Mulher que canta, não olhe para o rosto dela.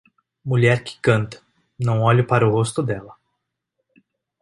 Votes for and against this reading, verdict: 2, 0, accepted